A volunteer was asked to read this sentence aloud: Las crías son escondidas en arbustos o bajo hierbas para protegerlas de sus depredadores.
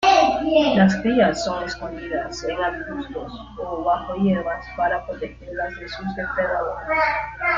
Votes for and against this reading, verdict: 0, 2, rejected